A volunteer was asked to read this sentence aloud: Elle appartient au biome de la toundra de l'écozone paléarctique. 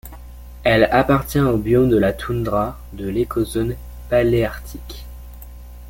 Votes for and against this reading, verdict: 2, 0, accepted